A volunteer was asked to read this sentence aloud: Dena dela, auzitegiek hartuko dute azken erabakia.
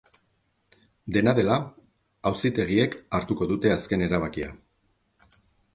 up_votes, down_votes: 4, 0